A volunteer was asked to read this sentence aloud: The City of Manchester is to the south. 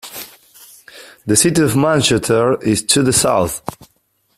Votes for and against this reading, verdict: 2, 1, accepted